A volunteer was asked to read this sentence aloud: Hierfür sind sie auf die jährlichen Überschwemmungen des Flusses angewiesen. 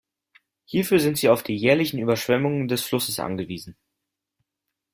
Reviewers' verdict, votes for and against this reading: accepted, 2, 0